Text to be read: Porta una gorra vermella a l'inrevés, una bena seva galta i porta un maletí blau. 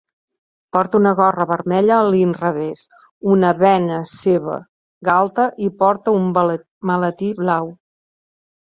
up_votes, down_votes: 0, 2